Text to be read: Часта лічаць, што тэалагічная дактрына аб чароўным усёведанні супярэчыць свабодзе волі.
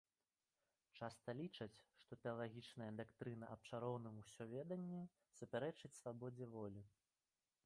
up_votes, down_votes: 1, 2